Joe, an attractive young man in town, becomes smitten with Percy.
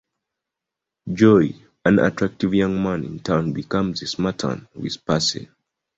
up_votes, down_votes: 0, 2